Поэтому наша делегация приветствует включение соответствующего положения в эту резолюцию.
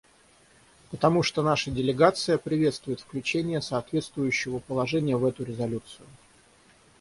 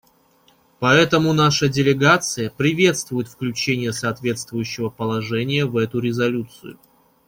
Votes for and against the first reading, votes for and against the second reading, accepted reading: 3, 3, 2, 0, second